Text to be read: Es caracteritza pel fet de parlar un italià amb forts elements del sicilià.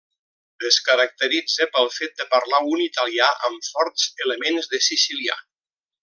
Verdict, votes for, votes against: rejected, 0, 2